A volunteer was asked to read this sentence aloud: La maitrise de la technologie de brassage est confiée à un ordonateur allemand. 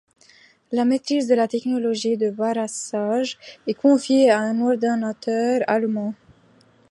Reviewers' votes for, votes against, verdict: 0, 2, rejected